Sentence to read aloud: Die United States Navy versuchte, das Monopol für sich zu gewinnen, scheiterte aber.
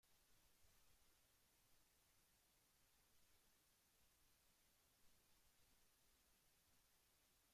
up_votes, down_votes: 0, 2